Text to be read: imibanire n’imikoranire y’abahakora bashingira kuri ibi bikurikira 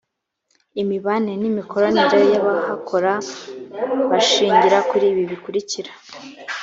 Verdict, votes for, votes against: accepted, 3, 0